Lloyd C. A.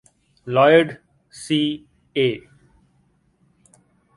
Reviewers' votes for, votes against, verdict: 2, 0, accepted